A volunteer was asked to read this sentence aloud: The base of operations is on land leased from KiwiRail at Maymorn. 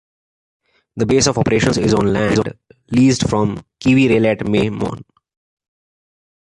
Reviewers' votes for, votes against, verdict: 1, 2, rejected